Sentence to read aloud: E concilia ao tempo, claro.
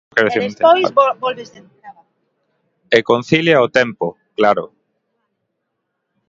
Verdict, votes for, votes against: rejected, 1, 2